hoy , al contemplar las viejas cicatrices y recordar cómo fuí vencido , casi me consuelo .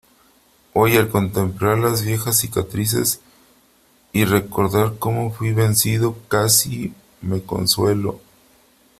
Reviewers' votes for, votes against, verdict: 3, 0, accepted